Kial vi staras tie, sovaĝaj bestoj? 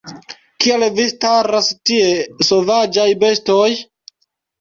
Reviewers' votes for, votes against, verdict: 0, 2, rejected